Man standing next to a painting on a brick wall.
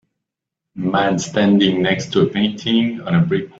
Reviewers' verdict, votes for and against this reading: rejected, 0, 2